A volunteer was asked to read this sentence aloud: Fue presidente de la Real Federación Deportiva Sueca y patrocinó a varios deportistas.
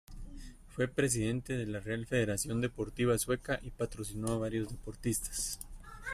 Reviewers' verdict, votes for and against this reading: accepted, 2, 0